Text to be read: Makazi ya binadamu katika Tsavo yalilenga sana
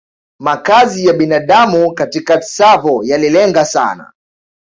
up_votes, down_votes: 2, 1